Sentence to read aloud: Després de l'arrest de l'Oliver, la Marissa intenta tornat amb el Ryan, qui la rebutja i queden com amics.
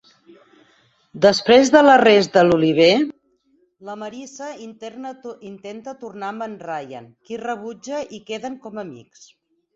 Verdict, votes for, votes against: rejected, 2, 4